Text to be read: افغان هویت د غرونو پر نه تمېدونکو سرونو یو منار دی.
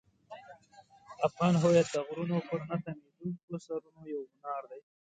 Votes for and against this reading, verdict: 2, 0, accepted